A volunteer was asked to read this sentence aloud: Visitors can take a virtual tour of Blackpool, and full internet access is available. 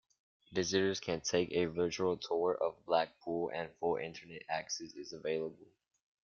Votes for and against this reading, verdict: 1, 2, rejected